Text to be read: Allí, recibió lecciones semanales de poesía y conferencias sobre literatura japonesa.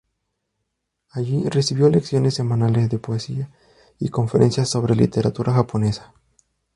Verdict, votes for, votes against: rejected, 2, 2